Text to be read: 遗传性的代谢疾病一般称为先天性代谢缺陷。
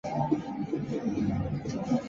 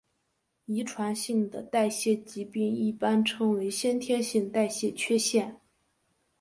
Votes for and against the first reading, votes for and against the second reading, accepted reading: 0, 3, 2, 0, second